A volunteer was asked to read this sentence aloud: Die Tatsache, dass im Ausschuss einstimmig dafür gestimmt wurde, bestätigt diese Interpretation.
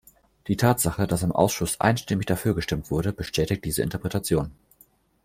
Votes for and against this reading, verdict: 2, 1, accepted